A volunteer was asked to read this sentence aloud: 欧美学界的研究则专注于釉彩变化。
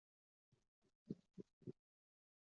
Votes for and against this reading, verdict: 0, 4, rejected